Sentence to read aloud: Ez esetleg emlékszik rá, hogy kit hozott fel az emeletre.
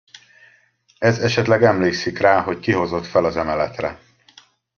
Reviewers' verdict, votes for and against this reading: rejected, 0, 2